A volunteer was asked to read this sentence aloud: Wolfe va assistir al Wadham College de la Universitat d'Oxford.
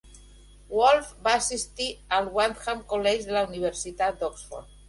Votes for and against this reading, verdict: 2, 0, accepted